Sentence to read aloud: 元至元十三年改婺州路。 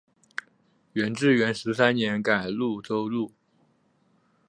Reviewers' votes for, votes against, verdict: 6, 0, accepted